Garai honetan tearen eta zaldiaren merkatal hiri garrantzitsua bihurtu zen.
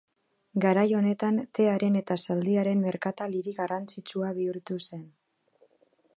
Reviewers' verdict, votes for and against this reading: accepted, 2, 0